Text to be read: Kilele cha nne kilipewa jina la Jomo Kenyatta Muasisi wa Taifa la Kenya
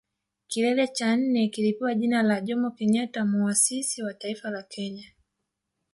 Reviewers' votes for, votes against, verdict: 1, 2, rejected